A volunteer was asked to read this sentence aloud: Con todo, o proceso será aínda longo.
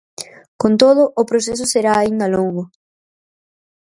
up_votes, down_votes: 4, 0